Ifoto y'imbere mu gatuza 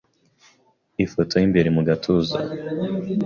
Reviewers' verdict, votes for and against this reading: accepted, 3, 0